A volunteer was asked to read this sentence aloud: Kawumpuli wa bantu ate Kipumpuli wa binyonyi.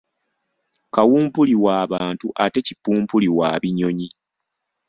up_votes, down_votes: 2, 0